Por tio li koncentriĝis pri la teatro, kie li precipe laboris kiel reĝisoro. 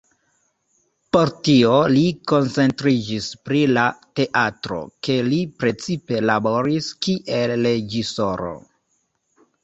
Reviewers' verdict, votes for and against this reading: rejected, 1, 2